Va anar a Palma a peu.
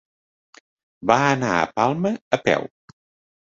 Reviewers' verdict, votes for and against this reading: accepted, 3, 0